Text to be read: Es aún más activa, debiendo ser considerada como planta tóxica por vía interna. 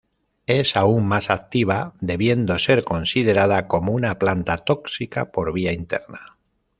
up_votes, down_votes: 0, 2